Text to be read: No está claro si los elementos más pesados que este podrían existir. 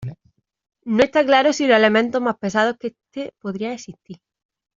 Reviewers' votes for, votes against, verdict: 1, 2, rejected